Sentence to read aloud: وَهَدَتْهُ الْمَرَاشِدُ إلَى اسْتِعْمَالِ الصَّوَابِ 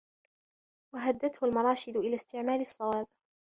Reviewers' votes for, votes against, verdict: 2, 1, accepted